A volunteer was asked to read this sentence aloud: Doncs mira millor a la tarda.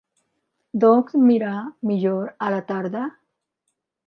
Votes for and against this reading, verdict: 1, 2, rejected